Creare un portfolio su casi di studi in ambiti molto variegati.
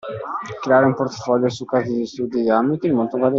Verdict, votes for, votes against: rejected, 1, 2